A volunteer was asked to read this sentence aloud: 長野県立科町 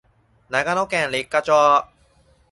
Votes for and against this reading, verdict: 2, 2, rejected